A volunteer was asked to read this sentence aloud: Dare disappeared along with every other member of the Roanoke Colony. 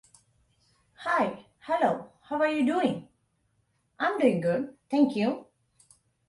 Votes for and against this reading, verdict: 0, 2, rejected